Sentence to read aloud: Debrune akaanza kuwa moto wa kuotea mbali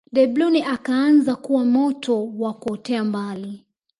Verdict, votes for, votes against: accepted, 2, 1